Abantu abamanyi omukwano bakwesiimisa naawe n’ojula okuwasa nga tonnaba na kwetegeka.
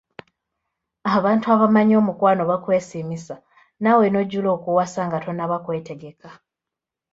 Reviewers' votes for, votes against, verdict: 0, 2, rejected